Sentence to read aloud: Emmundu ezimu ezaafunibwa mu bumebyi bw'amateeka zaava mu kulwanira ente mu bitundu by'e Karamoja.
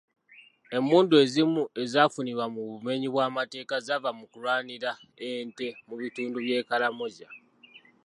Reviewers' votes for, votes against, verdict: 2, 0, accepted